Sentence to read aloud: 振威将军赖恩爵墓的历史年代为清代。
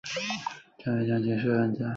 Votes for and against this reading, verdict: 1, 4, rejected